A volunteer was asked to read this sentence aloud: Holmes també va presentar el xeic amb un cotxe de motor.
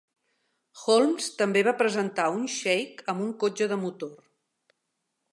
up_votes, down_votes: 0, 2